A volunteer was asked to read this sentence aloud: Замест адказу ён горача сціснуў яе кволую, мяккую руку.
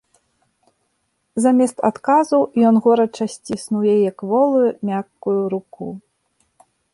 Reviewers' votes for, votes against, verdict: 2, 0, accepted